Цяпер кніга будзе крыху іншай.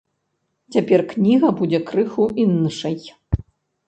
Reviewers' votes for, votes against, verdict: 0, 2, rejected